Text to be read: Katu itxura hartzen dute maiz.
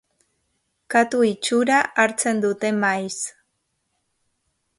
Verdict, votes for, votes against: accepted, 2, 0